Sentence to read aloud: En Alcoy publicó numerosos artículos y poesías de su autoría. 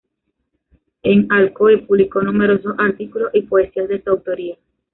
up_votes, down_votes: 2, 0